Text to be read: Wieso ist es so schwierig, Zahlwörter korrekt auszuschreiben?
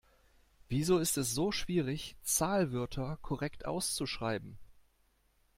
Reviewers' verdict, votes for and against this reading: accepted, 2, 0